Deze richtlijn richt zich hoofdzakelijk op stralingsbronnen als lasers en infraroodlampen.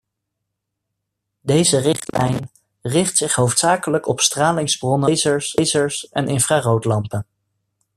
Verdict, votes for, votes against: rejected, 0, 2